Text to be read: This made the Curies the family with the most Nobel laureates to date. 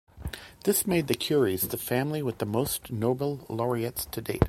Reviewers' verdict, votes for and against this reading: accepted, 2, 0